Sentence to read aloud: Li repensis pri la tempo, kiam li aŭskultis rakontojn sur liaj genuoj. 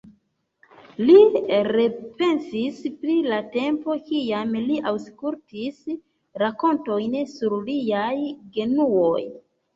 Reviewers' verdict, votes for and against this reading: rejected, 1, 2